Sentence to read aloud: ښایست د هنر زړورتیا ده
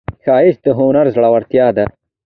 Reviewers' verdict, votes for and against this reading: accepted, 2, 1